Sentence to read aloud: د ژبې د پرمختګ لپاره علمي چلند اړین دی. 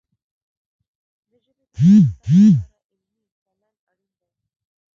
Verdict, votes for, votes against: rejected, 0, 2